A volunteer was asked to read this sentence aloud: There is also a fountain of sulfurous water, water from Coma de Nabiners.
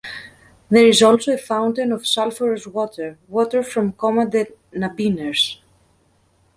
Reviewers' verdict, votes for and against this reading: accepted, 2, 0